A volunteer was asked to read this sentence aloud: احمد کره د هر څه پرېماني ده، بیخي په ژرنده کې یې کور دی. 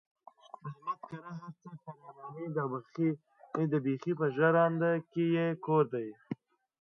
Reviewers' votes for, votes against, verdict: 0, 2, rejected